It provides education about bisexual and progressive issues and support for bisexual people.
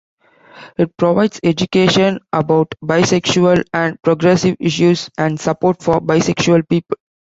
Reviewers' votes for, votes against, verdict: 0, 2, rejected